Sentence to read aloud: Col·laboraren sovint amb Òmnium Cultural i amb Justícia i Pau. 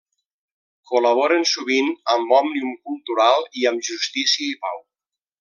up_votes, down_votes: 0, 2